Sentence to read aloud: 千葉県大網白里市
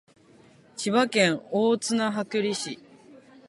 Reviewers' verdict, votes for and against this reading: accepted, 2, 0